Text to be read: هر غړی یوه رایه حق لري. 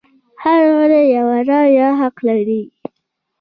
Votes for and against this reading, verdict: 2, 0, accepted